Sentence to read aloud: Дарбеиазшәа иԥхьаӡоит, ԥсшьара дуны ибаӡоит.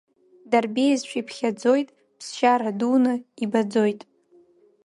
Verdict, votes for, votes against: accepted, 2, 0